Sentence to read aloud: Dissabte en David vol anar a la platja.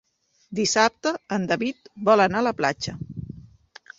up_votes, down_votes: 2, 0